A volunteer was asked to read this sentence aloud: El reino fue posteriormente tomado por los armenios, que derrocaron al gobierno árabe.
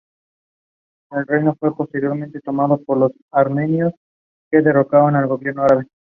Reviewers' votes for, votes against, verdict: 2, 0, accepted